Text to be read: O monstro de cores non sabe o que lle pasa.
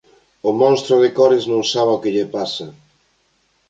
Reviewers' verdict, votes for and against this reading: accepted, 3, 0